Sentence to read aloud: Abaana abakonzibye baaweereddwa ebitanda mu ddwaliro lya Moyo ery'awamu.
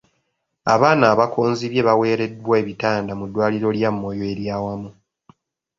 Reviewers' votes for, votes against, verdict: 3, 0, accepted